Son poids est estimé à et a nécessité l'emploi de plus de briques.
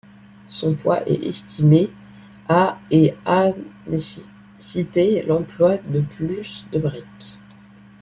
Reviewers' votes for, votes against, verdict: 1, 2, rejected